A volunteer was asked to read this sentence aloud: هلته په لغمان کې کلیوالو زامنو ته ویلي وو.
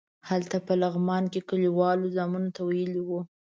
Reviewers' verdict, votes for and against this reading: accepted, 2, 0